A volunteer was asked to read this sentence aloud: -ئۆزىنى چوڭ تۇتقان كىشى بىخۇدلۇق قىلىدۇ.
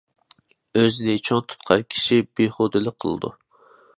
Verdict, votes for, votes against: rejected, 0, 2